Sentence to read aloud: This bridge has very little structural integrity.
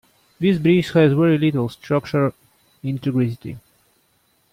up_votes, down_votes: 1, 2